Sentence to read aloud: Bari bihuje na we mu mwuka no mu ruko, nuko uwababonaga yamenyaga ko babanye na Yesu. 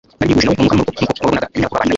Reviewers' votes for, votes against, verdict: 1, 2, rejected